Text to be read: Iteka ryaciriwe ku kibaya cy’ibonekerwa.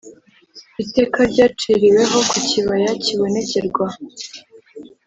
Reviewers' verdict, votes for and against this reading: accepted, 2, 0